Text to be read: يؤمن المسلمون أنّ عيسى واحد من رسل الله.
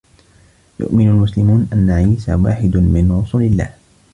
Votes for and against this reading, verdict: 1, 2, rejected